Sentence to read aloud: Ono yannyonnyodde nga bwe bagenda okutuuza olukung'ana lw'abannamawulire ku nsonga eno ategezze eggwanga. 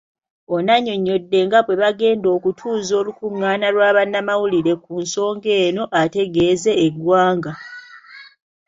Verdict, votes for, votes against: rejected, 1, 2